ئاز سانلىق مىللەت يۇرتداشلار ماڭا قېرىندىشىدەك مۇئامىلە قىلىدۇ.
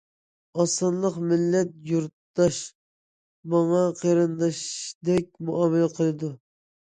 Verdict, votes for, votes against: rejected, 0, 2